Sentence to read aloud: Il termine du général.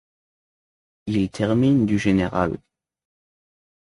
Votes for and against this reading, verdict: 2, 0, accepted